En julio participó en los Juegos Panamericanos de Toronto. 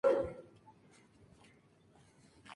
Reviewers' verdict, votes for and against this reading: rejected, 0, 2